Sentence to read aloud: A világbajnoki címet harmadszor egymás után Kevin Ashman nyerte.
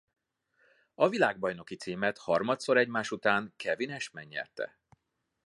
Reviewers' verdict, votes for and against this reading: accepted, 2, 0